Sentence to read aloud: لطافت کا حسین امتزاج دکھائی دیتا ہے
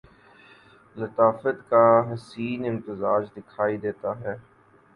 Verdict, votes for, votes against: accepted, 8, 0